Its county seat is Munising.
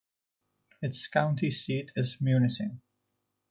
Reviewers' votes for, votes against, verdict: 2, 0, accepted